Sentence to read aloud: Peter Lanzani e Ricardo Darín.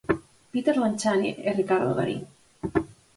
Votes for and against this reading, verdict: 4, 0, accepted